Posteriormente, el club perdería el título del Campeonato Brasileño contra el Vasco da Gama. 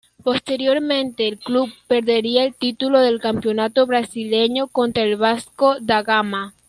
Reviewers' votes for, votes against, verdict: 2, 0, accepted